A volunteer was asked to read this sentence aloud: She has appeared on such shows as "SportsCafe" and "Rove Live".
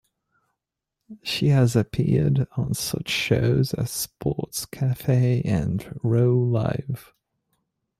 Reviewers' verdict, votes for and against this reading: accepted, 3, 1